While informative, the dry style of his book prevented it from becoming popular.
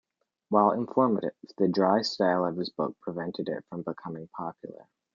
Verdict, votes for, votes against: accepted, 2, 0